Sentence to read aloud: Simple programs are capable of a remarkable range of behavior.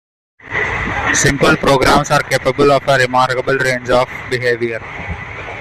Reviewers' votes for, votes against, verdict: 2, 0, accepted